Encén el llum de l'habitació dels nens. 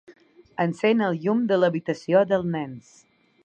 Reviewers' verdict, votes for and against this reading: rejected, 0, 2